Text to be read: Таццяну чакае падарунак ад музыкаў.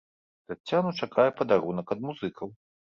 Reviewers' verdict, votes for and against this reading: accepted, 2, 0